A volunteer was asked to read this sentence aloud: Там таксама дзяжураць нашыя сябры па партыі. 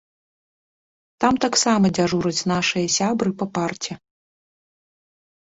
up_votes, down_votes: 0, 2